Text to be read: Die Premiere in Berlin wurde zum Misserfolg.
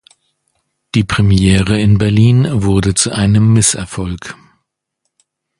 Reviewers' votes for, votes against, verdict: 1, 2, rejected